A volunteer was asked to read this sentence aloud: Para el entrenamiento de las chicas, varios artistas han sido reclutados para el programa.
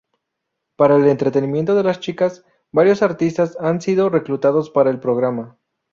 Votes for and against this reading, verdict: 0, 2, rejected